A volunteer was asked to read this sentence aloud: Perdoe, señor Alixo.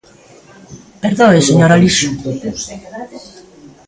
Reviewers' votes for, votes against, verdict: 2, 1, accepted